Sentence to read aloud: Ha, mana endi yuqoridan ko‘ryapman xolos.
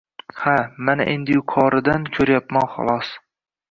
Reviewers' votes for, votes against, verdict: 2, 0, accepted